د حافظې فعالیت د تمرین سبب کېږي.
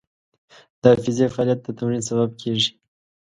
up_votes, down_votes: 2, 0